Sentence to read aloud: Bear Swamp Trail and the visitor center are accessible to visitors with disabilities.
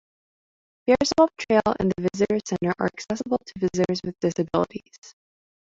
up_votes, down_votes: 2, 1